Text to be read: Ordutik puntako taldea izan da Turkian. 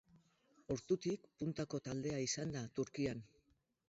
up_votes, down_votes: 8, 0